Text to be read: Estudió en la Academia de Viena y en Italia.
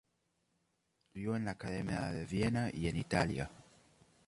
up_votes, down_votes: 2, 0